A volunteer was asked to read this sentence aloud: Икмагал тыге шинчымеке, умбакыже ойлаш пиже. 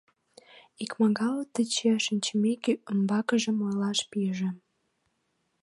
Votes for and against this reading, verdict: 1, 2, rejected